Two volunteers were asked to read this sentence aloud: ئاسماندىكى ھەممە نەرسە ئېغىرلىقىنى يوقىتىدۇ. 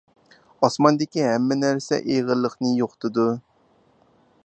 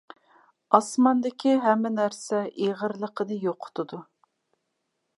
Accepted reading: second